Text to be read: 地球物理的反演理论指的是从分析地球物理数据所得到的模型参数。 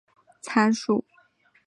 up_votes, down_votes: 3, 6